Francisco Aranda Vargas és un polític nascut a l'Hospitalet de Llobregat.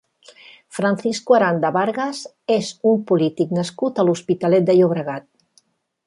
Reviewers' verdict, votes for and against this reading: rejected, 1, 2